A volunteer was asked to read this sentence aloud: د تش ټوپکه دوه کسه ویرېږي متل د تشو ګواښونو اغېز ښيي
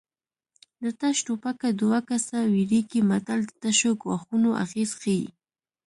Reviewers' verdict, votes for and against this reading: accepted, 2, 0